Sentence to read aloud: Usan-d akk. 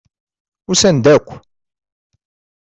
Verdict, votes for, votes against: accepted, 2, 0